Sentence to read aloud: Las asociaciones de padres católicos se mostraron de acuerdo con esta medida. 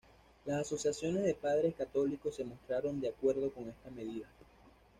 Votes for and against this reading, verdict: 2, 0, accepted